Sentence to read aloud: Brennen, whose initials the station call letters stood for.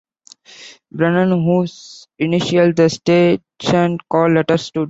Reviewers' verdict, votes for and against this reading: rejected, 0, 2